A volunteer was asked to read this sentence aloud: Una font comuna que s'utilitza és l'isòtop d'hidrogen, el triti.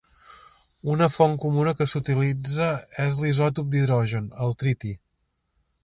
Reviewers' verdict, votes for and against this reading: accepted, 3, 0